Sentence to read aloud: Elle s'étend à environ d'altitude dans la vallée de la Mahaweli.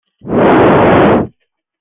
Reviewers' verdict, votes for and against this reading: rejected, 0, 2